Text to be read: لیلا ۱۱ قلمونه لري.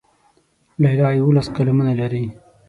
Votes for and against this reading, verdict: 0, 2, rejected